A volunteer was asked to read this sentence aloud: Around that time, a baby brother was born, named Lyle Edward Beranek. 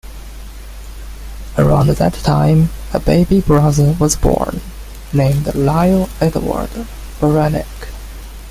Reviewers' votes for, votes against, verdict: 1, 2, rejected